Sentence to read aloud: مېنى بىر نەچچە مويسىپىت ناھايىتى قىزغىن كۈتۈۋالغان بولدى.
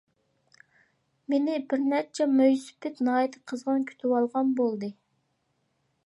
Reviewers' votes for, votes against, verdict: 2, 0, accepted